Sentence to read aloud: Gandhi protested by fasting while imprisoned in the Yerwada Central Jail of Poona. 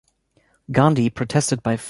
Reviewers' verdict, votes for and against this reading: rejected, 0, 2